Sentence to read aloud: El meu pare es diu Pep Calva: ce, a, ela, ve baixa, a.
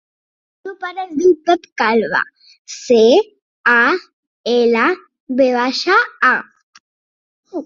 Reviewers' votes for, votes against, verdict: 0, 2, rejected